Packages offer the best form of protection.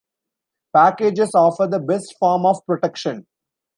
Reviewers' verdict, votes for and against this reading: rejected, 1, 2